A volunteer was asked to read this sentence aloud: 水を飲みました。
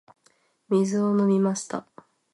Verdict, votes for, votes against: accepted, 2, 0